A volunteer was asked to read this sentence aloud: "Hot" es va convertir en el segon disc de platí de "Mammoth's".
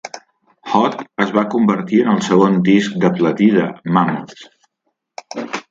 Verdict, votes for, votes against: accepted, 2, 1